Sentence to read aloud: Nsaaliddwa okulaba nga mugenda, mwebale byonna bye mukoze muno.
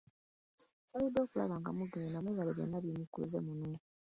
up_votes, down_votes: 0, 2